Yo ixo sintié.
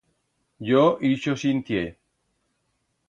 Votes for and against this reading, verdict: 2, 0, accepted